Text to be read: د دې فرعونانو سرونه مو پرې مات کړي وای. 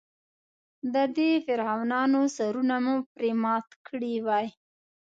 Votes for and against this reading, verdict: 2, 0, accepted